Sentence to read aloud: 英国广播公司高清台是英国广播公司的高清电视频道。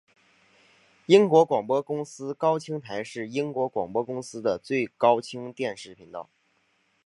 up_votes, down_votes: 2, 1